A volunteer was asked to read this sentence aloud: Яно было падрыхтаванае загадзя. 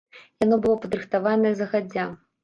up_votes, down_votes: 0, 3